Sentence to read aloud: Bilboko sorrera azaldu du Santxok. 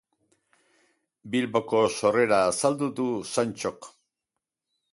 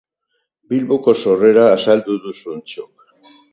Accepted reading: first